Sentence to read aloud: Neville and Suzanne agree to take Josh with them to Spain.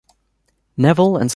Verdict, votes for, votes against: rejected, 1, 2